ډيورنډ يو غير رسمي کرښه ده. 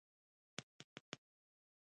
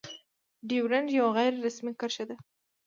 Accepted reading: first